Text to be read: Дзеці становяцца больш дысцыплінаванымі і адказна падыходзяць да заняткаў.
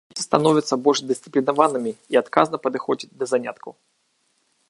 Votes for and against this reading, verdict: 0, 2, rejected